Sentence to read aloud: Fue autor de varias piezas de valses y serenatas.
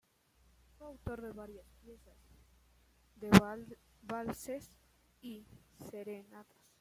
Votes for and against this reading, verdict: 0, 2, rejected